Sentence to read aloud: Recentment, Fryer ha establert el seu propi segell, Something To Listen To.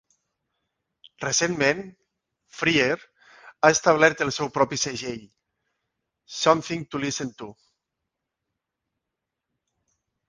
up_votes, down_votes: 2, 0